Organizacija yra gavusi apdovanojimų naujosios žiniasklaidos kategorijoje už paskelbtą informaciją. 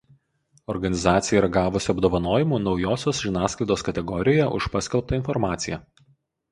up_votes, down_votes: 2, 2